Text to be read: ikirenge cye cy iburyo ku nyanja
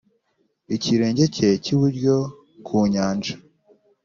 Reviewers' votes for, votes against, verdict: 3, 0, accepted